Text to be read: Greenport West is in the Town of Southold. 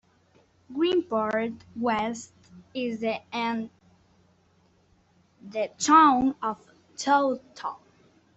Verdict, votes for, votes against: rejected, 0, 2